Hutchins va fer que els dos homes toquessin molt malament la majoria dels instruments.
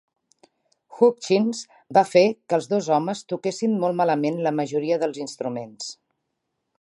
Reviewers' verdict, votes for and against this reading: accepted, 3, 0